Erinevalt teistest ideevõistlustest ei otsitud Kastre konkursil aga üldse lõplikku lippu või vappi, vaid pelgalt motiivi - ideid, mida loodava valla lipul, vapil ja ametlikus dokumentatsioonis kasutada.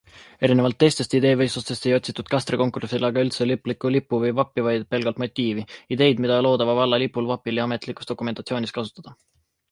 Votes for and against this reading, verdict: 2, 0, accepted